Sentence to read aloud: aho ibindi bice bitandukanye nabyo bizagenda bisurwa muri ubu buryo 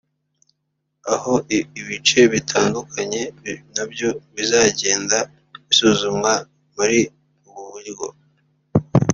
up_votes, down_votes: 0, 2